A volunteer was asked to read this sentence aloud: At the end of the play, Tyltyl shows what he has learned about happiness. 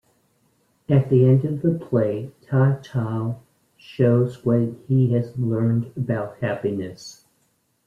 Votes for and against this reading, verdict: 2, 3, rejected